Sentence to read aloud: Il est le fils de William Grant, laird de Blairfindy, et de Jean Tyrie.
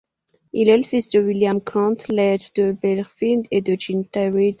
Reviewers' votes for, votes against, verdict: 0, 2, rejected